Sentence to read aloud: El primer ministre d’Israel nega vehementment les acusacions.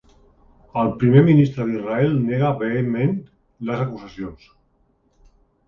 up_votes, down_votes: 2, 1